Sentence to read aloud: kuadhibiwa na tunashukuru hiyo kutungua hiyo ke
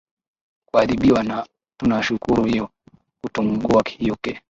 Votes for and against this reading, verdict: 0, 2, rejected